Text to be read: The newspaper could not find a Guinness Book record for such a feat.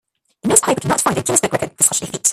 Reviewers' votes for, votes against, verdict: 0, 2, rejected